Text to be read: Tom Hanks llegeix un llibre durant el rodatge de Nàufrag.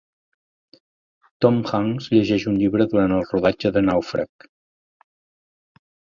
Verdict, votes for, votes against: accepted, 2, 0